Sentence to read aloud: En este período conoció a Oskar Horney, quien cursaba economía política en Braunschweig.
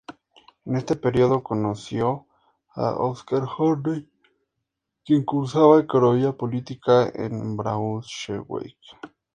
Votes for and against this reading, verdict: 4, 0, accepted